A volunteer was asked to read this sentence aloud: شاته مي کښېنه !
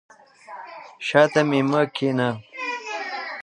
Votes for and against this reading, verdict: 0, 2, rejected